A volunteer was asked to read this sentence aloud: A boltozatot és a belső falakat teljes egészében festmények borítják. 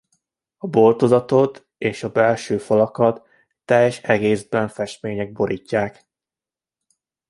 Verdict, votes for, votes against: rejected, 0, 2